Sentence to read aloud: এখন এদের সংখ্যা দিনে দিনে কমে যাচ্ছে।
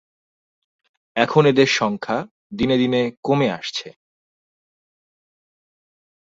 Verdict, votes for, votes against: rejected, 1, 2